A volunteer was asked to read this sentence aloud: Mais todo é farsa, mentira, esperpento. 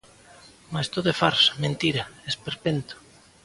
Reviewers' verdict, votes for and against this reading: accepted, 2, 0